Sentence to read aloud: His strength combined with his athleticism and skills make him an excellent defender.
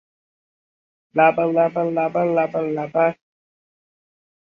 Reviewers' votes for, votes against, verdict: 0, 3, rejected